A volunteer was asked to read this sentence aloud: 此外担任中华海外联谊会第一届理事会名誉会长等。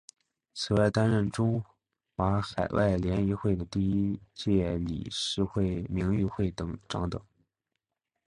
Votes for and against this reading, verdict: 2, 2, rejected